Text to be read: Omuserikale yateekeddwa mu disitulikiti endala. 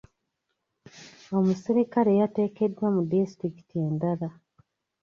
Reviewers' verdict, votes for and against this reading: accepted, 2, 0